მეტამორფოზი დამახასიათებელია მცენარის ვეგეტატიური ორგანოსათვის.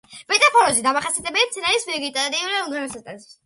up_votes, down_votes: 0, 2